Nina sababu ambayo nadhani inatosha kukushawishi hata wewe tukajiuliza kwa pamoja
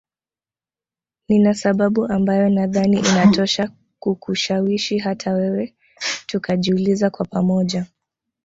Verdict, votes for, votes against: rejected, 1, 2